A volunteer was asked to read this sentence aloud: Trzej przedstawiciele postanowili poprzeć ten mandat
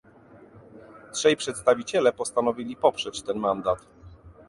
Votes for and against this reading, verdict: 2, 0, accepted